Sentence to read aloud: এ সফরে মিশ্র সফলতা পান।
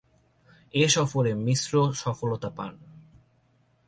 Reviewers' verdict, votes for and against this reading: accepted, 2, 0